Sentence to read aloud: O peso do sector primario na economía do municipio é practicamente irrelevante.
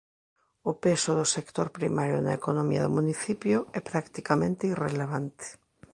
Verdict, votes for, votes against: accepted, 2, 0